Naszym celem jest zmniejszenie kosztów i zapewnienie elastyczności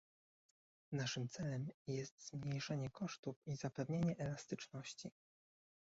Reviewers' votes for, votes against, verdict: 1, 2, rejected